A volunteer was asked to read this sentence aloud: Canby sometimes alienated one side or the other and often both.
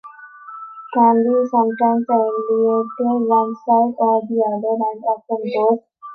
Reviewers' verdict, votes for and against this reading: rejected, 0, 2